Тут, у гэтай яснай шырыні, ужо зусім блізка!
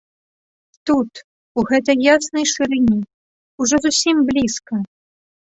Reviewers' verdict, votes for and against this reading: accepted, 2, 1